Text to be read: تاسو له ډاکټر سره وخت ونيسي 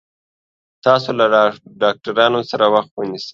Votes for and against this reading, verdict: 0, 2, rejected